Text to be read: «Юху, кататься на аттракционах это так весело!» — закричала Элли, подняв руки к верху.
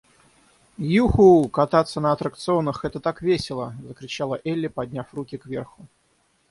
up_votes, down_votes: 0, 3